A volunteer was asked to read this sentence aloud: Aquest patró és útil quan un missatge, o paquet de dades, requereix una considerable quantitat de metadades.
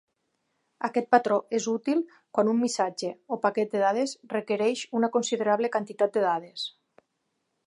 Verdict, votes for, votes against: rejected, 0, 3